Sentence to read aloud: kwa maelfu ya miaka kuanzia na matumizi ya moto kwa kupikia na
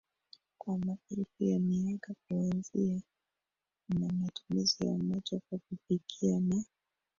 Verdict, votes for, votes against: rejected, 1, 2